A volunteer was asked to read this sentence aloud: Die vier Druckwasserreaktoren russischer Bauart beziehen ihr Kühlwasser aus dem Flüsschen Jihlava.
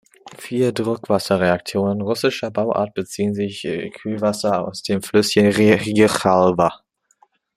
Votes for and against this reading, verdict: 0, 2, rejected